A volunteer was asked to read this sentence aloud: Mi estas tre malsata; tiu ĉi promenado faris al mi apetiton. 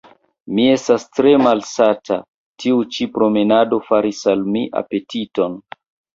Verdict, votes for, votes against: accepted, 2, 0